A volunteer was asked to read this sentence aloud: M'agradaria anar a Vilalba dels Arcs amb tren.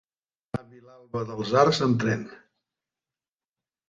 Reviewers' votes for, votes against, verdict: 0, 2, rejected